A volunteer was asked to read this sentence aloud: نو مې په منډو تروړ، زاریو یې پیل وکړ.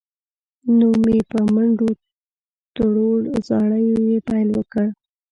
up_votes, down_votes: 1, 2